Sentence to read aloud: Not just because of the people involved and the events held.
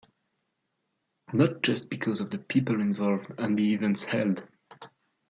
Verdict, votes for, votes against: accepted, 2, 1